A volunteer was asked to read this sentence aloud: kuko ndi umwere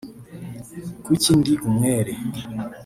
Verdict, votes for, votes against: rejected, 2, 3